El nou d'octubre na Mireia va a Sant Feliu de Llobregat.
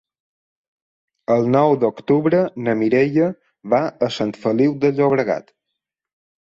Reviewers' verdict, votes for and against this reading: accepted, 3, 0